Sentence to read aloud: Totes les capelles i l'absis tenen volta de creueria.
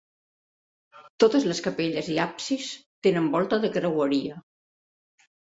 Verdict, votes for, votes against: rejected, 1, 2